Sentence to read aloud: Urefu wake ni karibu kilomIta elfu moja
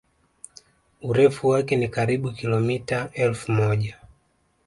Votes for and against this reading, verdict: 2, 0, accepted